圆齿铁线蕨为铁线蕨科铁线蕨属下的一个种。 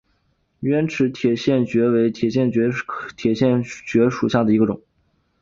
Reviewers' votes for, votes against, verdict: 2, 1, accepted